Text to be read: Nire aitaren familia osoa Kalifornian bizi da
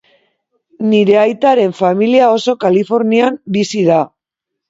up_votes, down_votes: 0, 2